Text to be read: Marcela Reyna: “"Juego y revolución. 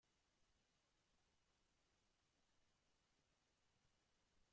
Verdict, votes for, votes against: rejected, 0, 2